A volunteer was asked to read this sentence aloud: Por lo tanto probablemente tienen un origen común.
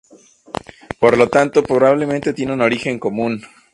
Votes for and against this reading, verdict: 2, 0, accepted